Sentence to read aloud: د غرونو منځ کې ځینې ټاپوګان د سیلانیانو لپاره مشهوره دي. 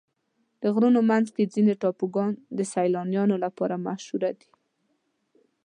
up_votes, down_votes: 3, 0